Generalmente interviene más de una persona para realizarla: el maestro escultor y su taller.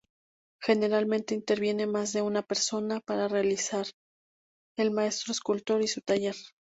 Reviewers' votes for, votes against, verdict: 0, 2, rejected